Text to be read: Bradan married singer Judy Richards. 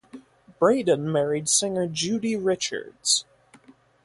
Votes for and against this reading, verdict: 0, 4, rejected